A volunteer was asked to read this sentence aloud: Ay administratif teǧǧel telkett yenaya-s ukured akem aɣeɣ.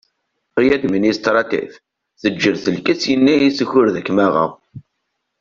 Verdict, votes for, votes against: accepted, 2, 0